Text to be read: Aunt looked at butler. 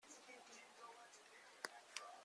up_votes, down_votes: 0, 2